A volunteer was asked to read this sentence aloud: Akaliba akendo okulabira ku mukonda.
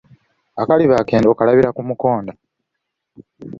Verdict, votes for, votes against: accepted, 2, 0